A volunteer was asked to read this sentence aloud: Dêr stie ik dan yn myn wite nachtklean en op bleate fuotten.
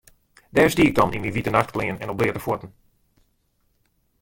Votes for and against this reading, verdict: 1, 2, rejected